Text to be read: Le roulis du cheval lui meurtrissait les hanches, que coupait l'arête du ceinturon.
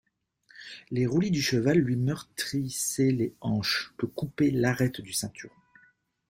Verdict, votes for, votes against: rejected, 1, 2